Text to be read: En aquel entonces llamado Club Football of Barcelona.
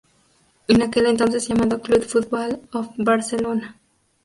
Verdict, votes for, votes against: accepted, 2, 0